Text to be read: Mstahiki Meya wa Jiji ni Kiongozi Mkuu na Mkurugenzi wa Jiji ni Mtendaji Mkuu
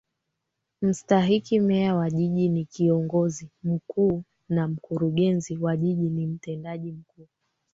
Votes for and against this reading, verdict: 3, 2, accepted